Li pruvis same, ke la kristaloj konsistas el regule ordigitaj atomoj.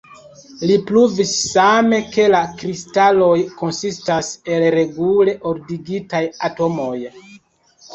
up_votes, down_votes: 0, 2